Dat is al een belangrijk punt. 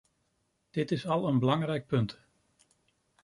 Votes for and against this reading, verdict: 0, 2, rejected